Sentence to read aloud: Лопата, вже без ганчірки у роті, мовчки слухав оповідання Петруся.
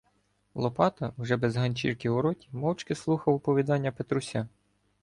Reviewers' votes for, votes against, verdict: 1, 2, rejected